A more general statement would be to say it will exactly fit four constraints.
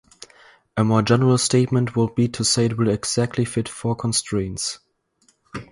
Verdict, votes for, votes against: rejected, 2, 2